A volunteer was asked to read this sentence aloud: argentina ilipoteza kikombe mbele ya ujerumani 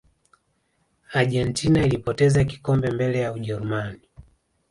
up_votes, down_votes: 1, 2